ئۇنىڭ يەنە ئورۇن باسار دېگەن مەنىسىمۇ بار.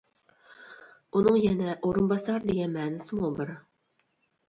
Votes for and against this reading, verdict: 0, 2, rejected